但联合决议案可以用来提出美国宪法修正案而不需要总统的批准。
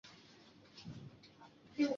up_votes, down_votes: 0, 2